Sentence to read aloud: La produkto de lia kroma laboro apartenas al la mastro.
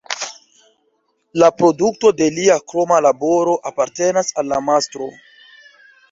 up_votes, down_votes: 1, 2